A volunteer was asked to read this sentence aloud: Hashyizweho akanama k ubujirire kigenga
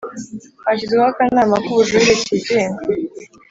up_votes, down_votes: 2, 0